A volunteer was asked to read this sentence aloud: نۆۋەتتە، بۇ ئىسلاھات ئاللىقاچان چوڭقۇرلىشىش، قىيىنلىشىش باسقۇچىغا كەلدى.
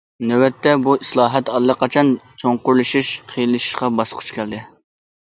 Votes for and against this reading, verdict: 0, 2, rejected